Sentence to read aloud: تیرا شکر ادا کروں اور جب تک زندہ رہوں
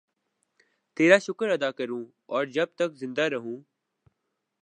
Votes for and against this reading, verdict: 2, 0, accepted